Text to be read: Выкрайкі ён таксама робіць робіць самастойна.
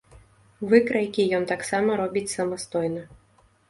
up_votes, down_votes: 0, 2